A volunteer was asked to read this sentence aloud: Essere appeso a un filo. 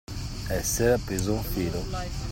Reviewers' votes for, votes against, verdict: 2, 0, accepted